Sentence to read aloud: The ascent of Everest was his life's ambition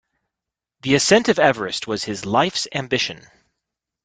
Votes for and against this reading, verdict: 2, 0, accepted